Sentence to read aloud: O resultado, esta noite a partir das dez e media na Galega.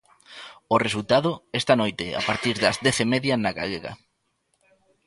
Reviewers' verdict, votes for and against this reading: accepted, 3, 2